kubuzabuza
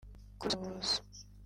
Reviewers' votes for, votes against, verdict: 0, 2, rejected